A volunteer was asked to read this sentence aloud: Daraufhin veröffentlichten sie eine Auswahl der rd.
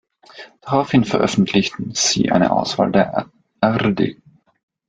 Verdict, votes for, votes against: rejected, 1, 2